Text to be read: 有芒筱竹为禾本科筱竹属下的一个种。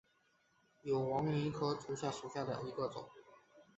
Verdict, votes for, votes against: rejected, 0, 2